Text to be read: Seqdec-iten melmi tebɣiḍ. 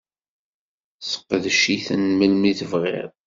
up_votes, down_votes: 2, 0